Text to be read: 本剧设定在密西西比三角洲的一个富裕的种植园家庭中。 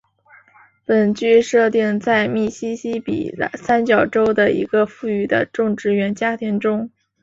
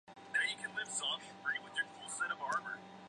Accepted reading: second